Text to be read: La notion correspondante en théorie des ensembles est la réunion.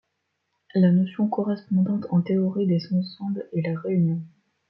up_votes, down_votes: 2, 0